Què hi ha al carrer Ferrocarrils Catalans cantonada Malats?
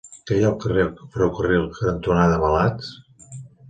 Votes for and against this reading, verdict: 1, 2, rejected